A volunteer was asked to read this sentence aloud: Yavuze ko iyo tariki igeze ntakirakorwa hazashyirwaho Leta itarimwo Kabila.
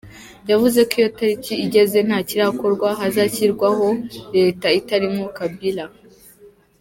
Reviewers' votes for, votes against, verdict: 2, 0, accepted